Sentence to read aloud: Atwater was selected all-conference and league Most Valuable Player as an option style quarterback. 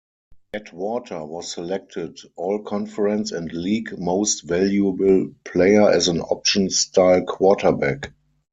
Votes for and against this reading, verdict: 0, 4, rejected